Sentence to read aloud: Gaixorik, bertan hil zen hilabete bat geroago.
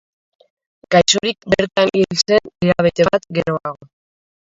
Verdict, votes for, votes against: rejected, 0, 2